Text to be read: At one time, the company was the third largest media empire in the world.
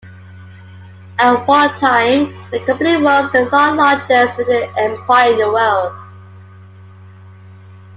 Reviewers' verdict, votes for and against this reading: accepted, 2, 1